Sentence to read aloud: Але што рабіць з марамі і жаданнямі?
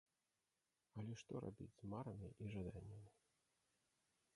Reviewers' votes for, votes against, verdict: 0, 2, rejected